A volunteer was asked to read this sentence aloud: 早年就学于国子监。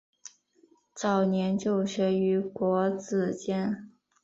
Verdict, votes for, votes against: accepted, 2, 0